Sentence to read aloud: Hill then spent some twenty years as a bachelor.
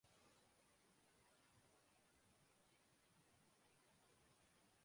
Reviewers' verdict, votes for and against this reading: rejected, 0, 2